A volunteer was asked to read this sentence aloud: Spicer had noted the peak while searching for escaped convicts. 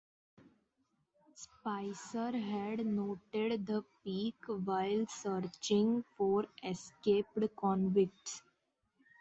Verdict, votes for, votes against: rejected, 0, 2